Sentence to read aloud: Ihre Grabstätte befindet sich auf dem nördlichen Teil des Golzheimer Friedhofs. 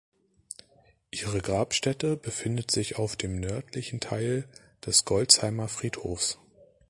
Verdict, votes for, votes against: accepted, 3, 0